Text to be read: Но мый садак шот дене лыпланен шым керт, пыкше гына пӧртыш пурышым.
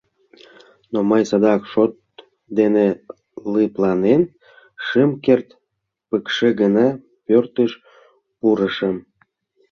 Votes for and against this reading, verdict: 1, 2, rejected